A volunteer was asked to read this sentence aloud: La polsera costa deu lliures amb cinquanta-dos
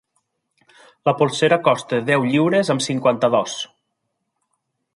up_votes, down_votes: 3, 0